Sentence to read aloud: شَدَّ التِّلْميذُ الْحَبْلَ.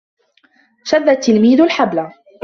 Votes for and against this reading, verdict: 3, 0, accepted